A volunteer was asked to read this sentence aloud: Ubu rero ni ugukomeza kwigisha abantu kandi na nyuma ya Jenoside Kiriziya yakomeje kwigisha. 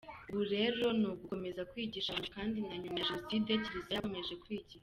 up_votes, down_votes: 0, 2